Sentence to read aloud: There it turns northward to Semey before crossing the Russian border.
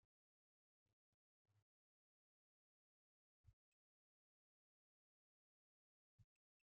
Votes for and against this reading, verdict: 0, 2, rejected